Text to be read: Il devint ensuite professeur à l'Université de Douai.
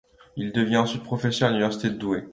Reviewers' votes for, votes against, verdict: 2, 1, accepted